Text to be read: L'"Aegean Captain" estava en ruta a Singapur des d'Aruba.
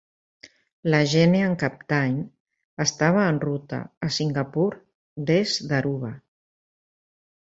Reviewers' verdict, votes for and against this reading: rejected, 1, 2